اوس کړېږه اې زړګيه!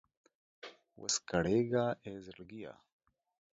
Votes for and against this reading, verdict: 1, 2, rejected